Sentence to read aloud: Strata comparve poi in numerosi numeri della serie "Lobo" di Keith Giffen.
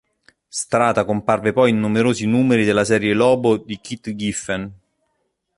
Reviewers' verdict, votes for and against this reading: accepted, 2, 0